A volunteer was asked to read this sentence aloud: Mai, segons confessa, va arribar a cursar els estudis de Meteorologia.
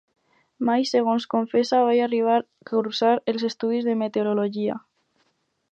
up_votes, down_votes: 0, 2